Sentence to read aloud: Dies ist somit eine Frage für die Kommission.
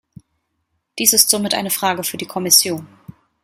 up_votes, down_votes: 2, 0